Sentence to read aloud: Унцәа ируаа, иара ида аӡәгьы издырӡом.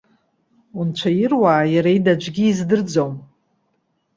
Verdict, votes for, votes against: accepted, 2, 0